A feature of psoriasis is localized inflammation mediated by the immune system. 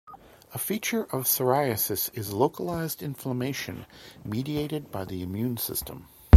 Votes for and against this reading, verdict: 2, 0, accepted